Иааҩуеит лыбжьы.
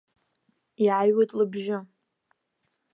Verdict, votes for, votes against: accepted, 2, 0